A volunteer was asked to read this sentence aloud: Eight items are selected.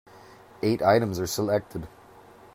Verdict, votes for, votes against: accepted, 2, 0